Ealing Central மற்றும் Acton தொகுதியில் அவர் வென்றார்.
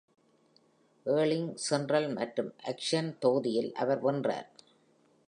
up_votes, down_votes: 1, 2